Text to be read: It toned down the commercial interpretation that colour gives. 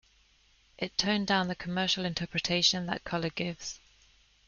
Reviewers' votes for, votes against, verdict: 3, 1, accepted